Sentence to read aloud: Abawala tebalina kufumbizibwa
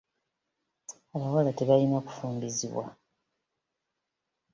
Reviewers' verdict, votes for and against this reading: rejected, 1, 2